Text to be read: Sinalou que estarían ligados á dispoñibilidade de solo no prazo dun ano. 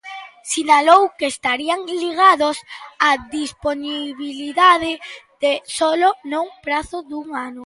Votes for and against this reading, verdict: 1, 2, rejected